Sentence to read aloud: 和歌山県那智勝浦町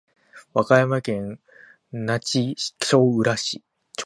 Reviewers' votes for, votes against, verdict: 2, 6, rejected